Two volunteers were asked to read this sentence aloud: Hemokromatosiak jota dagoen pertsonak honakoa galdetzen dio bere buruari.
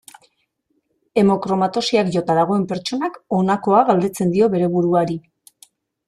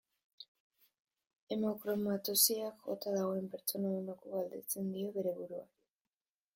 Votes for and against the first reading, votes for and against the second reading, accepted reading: 2, 0, 0, 2, first